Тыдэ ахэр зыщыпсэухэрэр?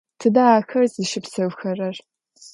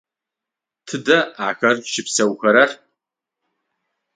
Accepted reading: first